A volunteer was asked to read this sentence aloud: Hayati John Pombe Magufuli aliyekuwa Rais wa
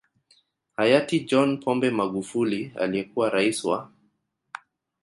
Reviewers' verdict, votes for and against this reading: rejected, 1, 2